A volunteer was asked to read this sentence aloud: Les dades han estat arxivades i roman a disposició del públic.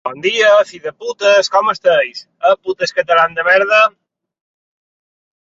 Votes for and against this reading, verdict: 0, 2, rejected